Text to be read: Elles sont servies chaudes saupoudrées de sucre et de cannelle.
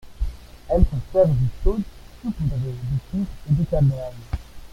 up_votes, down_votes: 0, 2